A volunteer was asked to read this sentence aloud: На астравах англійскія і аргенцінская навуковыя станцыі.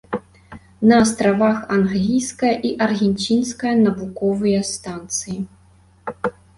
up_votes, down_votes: 0, 2